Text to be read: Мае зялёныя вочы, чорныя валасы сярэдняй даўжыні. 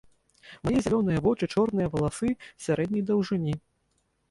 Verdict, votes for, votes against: rejected, 0, 2